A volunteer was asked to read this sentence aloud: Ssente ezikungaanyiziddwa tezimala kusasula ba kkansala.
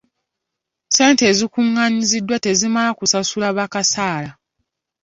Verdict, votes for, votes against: rejected, 0, 2